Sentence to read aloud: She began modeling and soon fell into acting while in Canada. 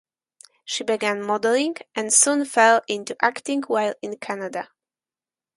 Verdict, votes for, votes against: accepted, 4, 0